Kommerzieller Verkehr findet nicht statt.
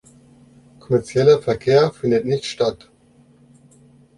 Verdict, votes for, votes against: rejected, 1, 2